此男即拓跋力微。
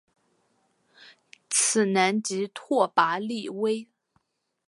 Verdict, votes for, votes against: accepted, 2, 0